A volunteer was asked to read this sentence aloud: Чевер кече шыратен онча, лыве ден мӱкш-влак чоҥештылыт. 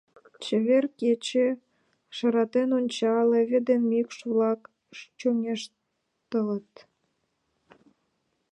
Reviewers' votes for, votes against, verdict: 1, 2, rejected